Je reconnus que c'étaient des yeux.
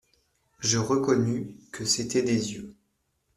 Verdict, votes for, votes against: accepted, 2, 1